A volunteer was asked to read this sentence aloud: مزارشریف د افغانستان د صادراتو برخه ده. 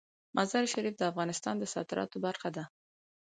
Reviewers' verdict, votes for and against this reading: accepted, 4, 0